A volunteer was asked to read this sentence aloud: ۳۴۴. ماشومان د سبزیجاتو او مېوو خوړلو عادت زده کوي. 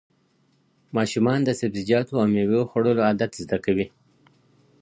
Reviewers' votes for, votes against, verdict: 0, 2, rejected